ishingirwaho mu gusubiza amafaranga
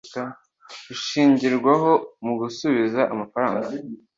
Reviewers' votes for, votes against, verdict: 2, 0, accepted